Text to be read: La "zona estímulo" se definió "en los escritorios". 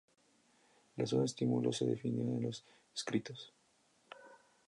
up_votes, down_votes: 0, 2